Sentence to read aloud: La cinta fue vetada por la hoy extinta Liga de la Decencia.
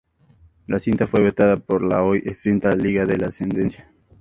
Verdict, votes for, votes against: rejected, 0, 4